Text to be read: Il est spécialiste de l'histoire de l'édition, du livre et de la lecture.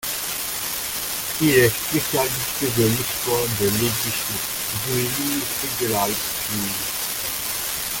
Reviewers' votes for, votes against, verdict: 0, 2, rejected